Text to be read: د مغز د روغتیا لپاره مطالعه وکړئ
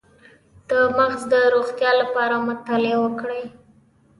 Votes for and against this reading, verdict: 0, 2, rejected